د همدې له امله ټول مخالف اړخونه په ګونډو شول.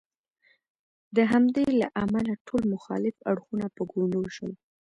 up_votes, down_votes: 1, 2